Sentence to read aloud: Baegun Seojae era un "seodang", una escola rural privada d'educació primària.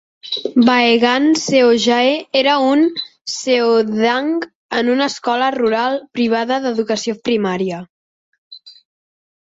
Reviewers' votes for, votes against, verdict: 2, 4, rejected